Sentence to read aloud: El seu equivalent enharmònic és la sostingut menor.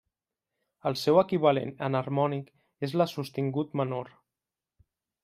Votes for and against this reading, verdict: 0, 2, rejected